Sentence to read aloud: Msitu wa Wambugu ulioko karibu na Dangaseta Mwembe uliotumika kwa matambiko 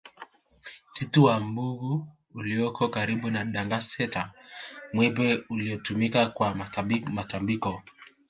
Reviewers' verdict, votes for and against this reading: rejected, 1, 2